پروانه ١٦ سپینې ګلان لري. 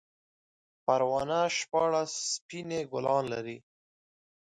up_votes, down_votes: 0, 2